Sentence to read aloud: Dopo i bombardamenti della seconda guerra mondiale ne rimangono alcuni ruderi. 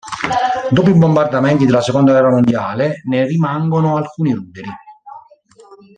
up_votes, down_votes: 0, 2